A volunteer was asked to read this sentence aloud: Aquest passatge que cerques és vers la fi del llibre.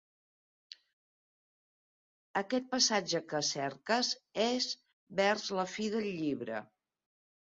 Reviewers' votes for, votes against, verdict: 2, 0, accepted